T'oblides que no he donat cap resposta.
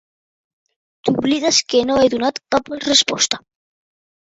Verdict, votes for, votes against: rejected, 1, 2